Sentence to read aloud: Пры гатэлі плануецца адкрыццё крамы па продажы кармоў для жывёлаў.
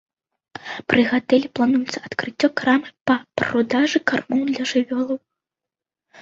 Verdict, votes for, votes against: rejected, 1, 2